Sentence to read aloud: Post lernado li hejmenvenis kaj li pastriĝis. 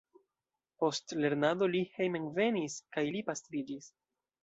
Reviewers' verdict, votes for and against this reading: accepted, 2, 0